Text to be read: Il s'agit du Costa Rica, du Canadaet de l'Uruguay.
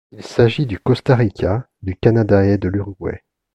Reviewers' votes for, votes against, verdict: 2, 0, accepted